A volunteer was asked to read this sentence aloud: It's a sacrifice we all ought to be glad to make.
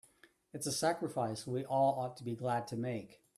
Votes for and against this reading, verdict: 2, 0, accepted